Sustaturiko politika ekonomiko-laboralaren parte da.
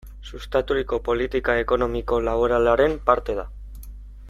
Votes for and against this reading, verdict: 2, 0, accepted